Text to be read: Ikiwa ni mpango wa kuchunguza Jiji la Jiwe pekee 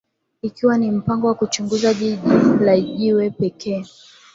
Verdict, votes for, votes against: accepted, 2, 1